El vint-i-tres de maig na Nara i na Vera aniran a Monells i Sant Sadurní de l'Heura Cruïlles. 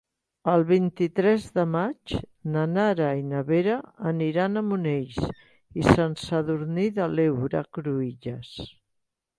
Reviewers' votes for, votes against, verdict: 3, 0, accepted